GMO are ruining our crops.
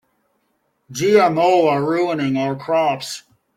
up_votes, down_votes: 2, 0